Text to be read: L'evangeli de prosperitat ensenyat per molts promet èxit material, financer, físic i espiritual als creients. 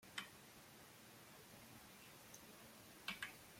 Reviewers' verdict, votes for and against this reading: rejected, 0, 2